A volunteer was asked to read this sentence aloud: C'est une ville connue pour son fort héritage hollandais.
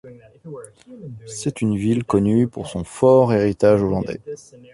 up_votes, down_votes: 0, 2